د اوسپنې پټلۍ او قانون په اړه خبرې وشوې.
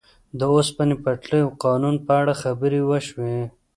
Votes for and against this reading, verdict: 2, 0, accepted